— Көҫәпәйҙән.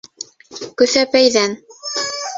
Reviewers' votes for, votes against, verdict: 0, 2, rejected